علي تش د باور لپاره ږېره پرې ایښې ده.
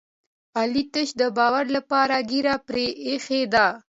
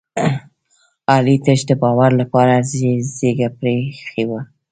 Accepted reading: first